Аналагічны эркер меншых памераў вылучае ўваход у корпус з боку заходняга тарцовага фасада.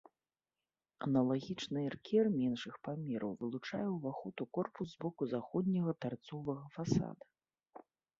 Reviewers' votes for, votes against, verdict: 2, 0, accepted